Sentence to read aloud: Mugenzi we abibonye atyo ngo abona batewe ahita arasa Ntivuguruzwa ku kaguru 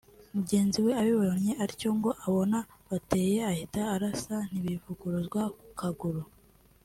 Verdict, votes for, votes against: rejected, 0, 3